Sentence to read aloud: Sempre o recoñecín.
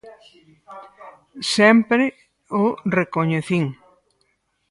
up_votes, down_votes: 2, 4